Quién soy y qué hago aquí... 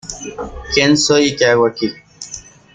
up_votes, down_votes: 2, 0